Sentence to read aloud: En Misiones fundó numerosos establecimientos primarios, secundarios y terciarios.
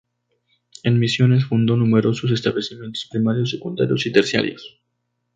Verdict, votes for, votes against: accepted, 4, 0